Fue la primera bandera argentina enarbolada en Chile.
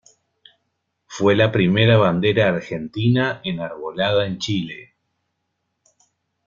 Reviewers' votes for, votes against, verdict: 2, 0, accepted